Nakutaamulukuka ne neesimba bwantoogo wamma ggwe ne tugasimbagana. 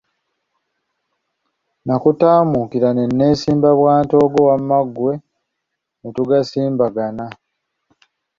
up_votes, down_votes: 2, 1